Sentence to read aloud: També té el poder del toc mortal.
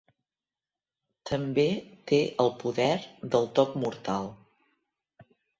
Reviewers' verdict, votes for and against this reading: accepted, 3, 0